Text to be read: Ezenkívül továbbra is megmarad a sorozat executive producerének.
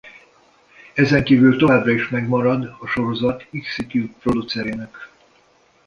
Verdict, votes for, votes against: rejected, 1, 2